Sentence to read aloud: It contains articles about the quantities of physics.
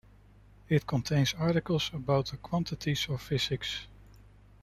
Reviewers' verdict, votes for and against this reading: accepted, 2, 0